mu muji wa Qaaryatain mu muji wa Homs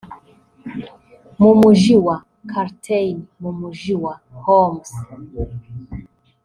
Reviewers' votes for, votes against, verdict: 0, 2, rejected